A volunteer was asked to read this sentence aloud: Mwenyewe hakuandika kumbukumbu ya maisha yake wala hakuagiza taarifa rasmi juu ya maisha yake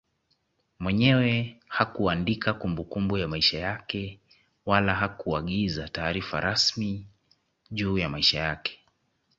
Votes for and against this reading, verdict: 1, 2, rejected